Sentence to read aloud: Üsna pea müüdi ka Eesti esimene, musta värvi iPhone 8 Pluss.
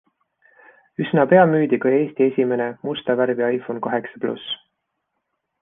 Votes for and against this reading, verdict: 0, 2, rejected